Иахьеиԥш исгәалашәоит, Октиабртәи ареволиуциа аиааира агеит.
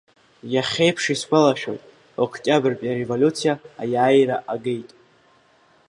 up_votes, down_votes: 2, 0